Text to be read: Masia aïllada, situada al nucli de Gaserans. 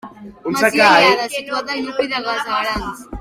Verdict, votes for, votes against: rejected, 1, 2